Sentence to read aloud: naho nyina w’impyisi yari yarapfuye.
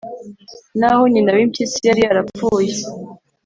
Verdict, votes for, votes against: accepted, 2, 0